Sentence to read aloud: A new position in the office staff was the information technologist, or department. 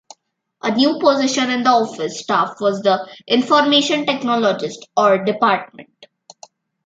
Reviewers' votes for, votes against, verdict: 2, 0, accepted